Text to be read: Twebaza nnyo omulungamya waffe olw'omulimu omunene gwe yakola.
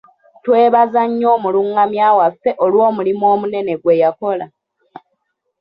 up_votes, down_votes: 1, 2